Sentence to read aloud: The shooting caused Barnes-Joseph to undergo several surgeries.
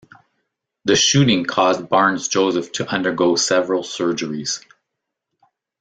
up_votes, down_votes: 2, 0